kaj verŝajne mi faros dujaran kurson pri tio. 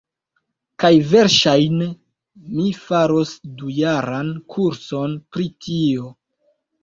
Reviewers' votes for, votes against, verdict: 1, 2, rejected